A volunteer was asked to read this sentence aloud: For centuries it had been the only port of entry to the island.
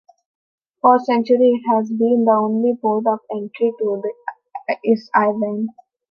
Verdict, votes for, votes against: rejected, 0, 2